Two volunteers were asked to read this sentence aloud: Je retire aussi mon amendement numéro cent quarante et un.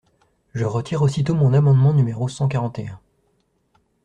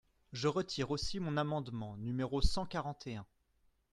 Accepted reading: second